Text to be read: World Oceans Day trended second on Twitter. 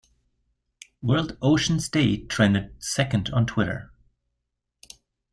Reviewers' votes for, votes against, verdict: 2, 0, accepted